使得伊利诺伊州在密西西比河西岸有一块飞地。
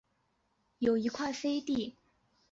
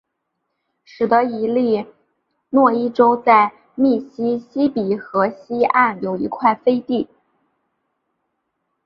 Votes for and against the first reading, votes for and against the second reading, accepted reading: 1, 4, 2, 0, second